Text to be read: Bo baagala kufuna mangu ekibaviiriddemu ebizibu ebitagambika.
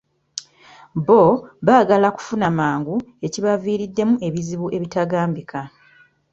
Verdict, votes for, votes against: accepted, 3, 0